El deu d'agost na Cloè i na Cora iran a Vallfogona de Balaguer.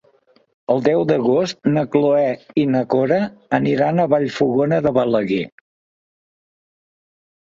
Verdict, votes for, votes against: rejected, 1, 2